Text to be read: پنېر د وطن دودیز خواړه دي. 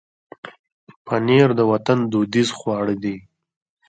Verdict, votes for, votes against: accepted, 2, 0